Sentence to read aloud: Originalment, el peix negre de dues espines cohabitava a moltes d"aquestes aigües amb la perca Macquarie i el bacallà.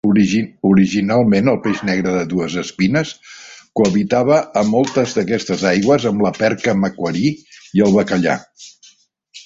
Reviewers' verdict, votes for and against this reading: rejected, 0, 2